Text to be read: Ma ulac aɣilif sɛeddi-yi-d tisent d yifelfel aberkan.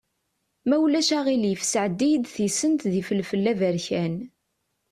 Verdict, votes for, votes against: accepted, 2, 0